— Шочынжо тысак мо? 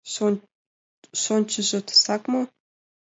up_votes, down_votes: 0, 2